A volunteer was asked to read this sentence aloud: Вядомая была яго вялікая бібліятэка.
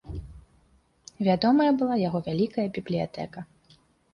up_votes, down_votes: 3, 0